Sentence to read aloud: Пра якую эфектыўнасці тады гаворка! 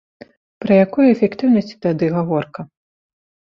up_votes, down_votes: 2, 0